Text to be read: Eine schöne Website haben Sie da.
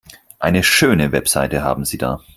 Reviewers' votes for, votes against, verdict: 2, 4, rejected